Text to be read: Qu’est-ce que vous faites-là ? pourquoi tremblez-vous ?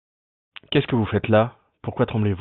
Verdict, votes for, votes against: accepted, 2, 0